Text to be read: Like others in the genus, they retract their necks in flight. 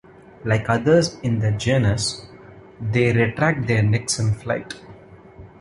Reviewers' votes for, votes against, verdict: 1, 2, rejected